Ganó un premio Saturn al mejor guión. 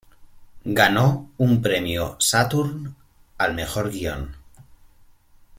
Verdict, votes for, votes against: accepted, 2, 0